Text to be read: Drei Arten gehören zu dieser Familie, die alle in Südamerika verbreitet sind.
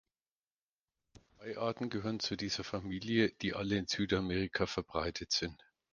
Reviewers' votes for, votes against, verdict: 4, 0, accepted